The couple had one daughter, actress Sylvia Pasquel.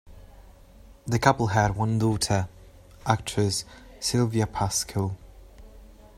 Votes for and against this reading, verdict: 2, 0, accepted